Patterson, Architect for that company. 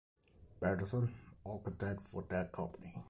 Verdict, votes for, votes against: accepted, 2, 1